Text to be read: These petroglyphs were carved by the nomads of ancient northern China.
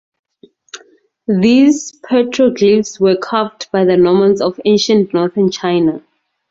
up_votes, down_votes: 2, 2